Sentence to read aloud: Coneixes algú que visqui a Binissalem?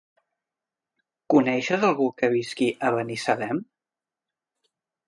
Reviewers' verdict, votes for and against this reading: rejected, 1, 2